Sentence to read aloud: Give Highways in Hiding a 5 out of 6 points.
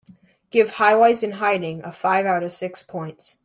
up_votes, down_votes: 0, 2